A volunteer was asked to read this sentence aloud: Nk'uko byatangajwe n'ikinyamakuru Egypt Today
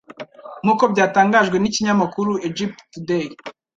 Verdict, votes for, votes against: rejected, 0, 2